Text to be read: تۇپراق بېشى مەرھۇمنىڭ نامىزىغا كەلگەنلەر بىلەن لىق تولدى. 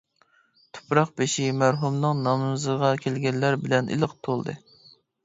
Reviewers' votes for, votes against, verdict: 1, 2, rejected